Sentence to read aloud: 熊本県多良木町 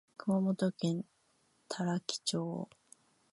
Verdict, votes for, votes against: accepted, 2, 1